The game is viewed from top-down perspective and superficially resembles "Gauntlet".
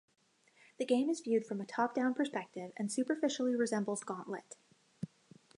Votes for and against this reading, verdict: 2, 0, accepted